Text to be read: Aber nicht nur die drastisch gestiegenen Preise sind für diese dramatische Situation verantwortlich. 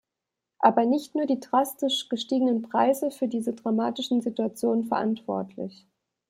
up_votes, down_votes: 0, 2